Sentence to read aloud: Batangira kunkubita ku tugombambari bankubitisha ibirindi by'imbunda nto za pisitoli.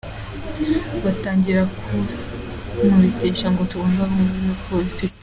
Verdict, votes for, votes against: rejected, 0, 2